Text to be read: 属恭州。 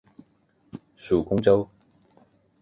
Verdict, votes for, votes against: accepted, 4, 0